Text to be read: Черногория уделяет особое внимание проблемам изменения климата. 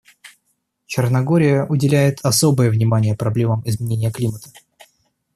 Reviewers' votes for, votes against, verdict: 2, 0, accepted